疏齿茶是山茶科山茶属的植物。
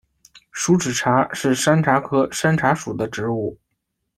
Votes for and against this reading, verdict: 2, 0, accepted